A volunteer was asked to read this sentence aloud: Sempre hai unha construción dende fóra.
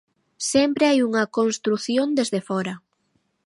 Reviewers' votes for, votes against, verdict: 1, 2, rejected